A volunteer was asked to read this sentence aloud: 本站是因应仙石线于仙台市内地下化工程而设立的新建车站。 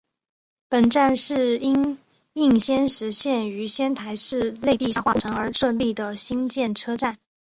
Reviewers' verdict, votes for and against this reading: accepted, 3, 0